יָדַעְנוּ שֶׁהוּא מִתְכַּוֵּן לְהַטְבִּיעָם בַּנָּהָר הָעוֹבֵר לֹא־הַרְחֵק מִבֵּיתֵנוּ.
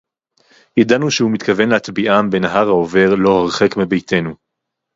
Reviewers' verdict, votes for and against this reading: rejected, 2, 2